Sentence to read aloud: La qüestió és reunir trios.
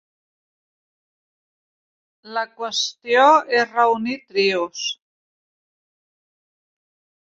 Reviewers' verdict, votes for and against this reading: rejected, 0, 2